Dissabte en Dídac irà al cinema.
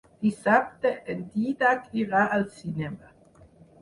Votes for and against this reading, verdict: 4, 0, accepted